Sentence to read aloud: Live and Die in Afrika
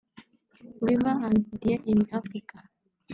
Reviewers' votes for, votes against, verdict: 1, 2, rejected